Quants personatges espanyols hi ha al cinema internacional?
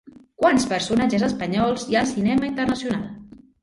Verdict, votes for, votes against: rejected, 1, 2